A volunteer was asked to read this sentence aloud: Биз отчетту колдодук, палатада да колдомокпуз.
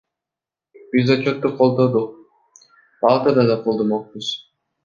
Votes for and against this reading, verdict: 1, 2, rejected